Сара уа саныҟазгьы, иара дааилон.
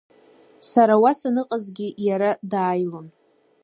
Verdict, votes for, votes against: accepted, 2, 0